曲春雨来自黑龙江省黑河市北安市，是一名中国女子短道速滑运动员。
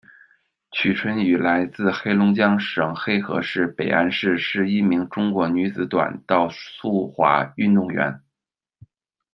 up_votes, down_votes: 2, 0